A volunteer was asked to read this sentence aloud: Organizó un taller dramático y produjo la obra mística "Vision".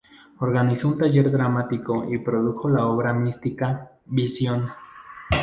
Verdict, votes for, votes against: accepted, 6, 0